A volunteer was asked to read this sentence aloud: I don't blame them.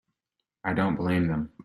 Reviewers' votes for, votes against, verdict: 2, 0, accepted